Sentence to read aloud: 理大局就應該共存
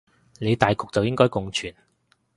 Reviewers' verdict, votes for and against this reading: accepted, 2, 0